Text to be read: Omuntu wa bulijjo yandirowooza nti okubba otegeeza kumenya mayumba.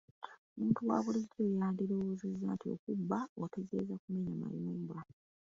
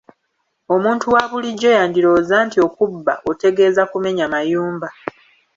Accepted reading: second